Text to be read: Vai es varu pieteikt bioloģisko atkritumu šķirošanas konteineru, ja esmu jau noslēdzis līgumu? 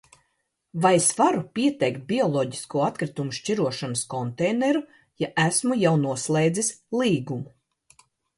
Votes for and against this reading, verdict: 2, 0, accepted